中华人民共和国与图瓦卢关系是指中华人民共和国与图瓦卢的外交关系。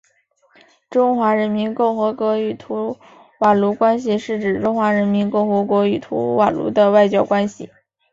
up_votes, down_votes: 5, 0